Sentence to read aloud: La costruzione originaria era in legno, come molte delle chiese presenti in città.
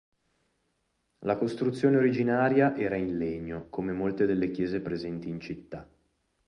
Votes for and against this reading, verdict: 2, 2, rejected